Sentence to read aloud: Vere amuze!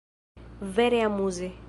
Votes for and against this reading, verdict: 2, 0, accepted